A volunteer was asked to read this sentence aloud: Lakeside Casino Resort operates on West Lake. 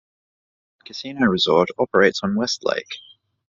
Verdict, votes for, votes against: rejected, 1, 2